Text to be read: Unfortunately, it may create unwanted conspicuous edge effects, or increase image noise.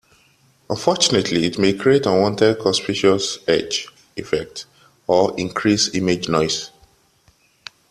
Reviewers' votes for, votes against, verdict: 0, 2, rejected